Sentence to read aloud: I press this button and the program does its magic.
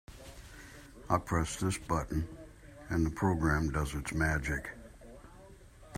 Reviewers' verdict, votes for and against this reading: accepted, 2, 0